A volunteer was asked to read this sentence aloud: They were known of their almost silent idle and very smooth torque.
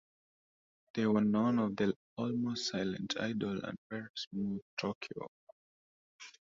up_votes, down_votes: 1, 2